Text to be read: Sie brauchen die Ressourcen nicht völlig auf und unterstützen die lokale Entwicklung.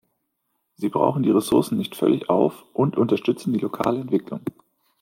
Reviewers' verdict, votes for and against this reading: accepted, 2, 0